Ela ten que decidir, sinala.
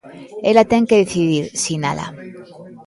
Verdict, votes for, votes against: accepted, 2, 0